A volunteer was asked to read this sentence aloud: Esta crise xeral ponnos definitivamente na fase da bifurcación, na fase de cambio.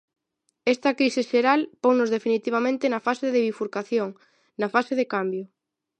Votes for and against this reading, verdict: 2, 0, accepted